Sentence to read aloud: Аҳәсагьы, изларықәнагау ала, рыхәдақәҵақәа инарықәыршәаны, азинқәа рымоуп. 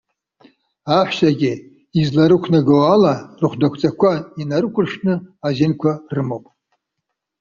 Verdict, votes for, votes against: rejected, 0, 2